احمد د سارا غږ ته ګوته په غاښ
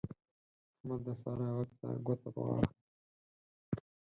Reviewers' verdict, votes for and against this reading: rejected, 0, 4